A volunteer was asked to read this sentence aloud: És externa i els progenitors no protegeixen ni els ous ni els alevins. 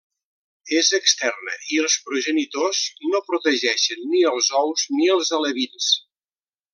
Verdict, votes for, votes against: rejected, 0, 2